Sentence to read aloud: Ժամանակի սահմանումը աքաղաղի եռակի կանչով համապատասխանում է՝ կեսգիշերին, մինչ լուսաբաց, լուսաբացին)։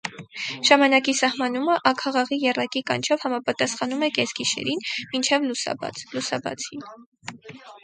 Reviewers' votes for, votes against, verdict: 2, 0, accepted